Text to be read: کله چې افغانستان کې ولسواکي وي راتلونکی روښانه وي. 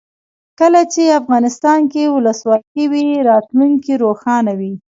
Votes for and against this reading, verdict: 0, 2, rejected